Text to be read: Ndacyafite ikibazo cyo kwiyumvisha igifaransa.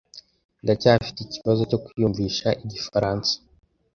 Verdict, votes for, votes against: accepted, 2, 0